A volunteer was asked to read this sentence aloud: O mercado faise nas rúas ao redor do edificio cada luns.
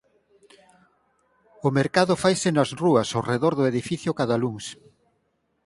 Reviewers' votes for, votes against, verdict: 4, 0, accepted